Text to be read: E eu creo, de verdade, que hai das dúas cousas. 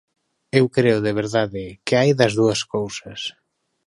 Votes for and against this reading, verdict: 2, 1, accepted